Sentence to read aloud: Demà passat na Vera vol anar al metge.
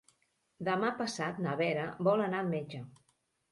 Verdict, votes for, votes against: accepted, 3, 1